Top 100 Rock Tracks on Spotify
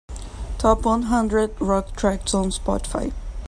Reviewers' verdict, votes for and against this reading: rejected, 0, 2